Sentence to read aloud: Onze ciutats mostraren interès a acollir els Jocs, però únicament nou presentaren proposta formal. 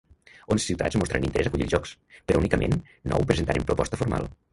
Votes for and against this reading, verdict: 0, 2, rejected